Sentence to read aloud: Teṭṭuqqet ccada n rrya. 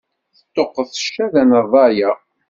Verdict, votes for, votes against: accepted, 2, 0